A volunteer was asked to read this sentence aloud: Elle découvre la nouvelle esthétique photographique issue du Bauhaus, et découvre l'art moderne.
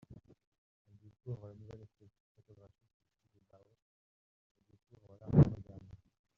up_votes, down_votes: 0, 2